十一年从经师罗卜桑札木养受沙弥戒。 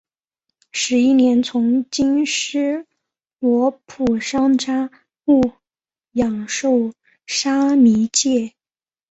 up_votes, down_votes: 2, 3